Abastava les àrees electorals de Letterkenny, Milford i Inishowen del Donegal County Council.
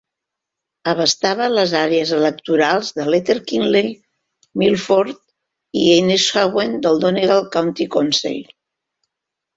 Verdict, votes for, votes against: rejected, 1, 2